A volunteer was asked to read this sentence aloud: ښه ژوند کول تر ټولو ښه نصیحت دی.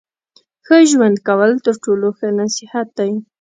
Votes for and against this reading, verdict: 2, 0, accepted